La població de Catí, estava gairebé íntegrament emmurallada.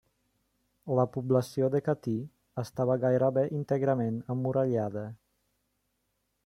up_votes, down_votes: 3, 0